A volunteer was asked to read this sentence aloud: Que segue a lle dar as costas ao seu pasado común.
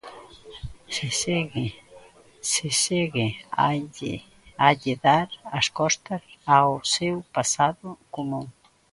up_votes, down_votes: 0, 2